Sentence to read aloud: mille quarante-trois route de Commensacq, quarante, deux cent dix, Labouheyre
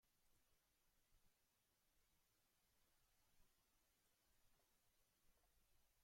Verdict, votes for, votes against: rejected, 0, 2